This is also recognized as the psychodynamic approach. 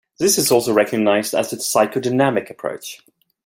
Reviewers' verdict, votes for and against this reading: rejected, 1, 2